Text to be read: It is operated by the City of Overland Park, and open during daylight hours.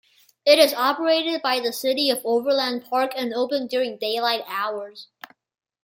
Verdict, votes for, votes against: accepted, 2, 0